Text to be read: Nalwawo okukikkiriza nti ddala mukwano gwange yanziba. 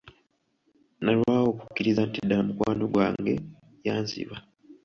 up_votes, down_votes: 1, 2